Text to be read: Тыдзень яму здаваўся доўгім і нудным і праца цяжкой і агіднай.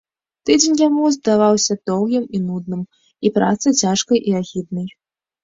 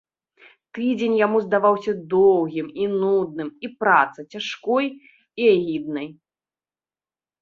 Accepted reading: second